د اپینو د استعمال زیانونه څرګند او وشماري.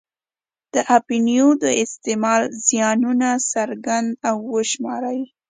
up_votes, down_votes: 2, 1